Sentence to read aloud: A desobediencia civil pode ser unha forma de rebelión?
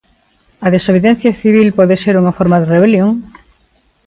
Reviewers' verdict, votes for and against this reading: accepted, 2, 0